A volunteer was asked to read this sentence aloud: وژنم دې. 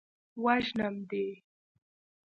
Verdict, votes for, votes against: accepted, 2, 0